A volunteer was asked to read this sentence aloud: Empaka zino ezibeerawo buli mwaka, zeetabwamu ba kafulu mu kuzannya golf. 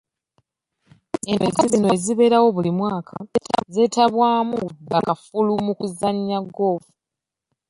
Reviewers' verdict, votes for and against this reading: rejected, 0, 2